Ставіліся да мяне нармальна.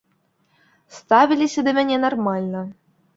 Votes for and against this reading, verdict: 2, 0, accepted